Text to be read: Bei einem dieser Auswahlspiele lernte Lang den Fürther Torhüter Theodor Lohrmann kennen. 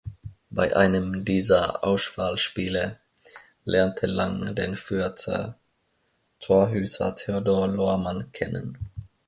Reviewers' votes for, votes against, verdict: 0, 2, rejected